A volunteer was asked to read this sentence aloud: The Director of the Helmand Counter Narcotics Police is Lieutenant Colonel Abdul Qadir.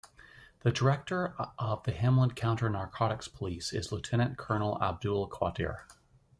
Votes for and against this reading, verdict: 1, 2, rejected